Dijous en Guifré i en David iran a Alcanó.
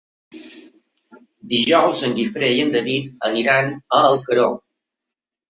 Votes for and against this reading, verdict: 0, 2, rejected